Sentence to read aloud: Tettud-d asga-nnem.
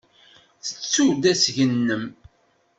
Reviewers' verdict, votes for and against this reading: rejected, 1, 2